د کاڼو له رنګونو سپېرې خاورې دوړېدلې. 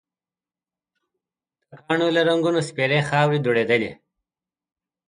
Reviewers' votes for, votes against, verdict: 1, 2, rejected